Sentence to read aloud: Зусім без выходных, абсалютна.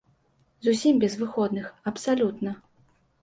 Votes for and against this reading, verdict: 2, 0, accepted